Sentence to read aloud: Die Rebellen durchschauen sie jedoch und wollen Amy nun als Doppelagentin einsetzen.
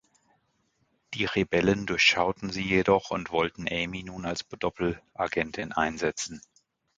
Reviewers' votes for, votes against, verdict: 0, 2, rejected